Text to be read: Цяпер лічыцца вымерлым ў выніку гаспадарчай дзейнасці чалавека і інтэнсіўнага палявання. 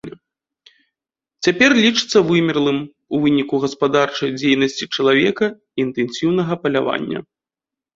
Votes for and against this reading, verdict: 2, 0, accepted